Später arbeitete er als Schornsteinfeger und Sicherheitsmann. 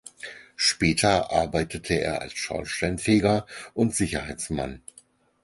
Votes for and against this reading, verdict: 2, 4, rejected